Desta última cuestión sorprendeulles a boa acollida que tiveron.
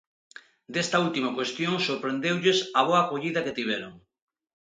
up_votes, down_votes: 2, 0